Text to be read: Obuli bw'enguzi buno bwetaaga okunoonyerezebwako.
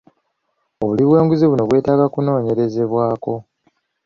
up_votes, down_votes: 2, 0